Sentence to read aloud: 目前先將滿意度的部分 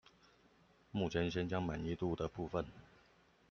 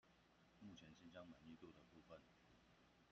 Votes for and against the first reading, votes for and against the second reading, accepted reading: 2, 0, 0, 2, first